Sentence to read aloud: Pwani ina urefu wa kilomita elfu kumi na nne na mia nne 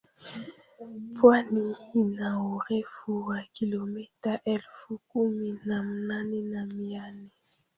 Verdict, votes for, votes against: rejected, 0, 2